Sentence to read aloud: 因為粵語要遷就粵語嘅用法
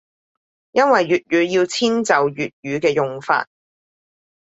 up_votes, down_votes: 3, 0